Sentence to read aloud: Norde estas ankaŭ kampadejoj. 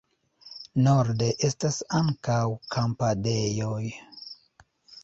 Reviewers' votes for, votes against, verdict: 1, 2, rejected